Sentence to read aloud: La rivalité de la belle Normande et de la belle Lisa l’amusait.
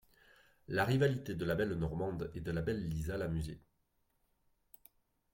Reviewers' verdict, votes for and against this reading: accepted, 2, 0